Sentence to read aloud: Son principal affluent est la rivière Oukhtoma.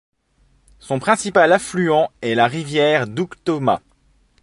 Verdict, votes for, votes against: rejected, 1, 2